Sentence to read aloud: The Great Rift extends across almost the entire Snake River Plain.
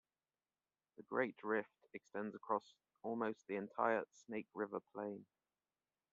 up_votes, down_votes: 2, 0